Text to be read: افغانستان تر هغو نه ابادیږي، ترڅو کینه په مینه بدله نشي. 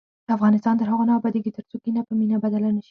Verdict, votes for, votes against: rejected, 2, 4